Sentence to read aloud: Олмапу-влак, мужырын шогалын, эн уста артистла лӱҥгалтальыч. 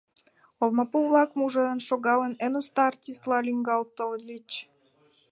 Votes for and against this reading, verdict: 1, 2, rejected